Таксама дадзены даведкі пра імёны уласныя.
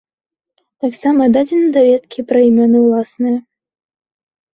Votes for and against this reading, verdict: 2, 0, accepted